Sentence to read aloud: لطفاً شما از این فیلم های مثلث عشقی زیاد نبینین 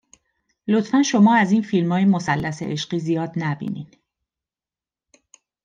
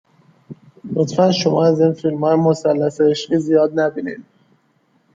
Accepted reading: second